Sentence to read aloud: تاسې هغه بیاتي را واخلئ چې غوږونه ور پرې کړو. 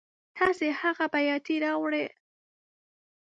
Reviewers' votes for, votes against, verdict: 0, 2, rejected